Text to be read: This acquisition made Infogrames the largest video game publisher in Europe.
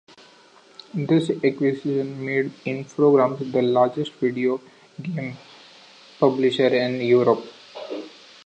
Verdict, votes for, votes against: rejected, 1, 2